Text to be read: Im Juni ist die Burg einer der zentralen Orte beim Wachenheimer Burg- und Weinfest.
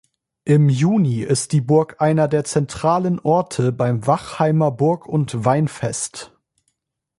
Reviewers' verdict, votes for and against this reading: rejected, 0, 2